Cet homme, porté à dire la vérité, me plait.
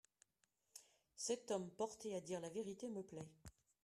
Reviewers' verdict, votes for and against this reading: accepted, 2, 0